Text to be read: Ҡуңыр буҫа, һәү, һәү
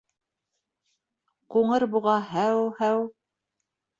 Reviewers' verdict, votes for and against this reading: rejected, 1, 2